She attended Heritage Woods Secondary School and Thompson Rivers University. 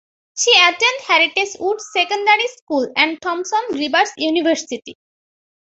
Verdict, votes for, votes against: rejected, 0, 2